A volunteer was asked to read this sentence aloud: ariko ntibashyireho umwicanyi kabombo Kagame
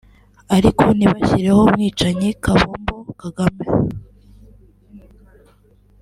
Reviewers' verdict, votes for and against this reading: rejected, 1, 2